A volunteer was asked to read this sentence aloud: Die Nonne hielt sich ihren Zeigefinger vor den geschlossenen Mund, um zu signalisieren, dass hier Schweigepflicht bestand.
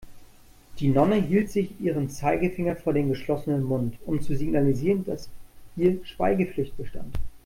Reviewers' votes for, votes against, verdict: 2, 0, accepted